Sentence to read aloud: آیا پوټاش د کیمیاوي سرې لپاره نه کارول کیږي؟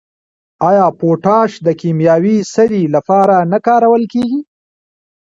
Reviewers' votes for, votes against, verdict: 0, 2, rejected